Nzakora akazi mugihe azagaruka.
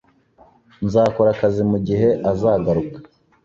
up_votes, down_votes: 2, 0